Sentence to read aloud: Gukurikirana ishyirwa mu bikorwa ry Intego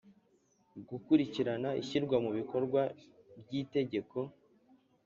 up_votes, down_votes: 1, 2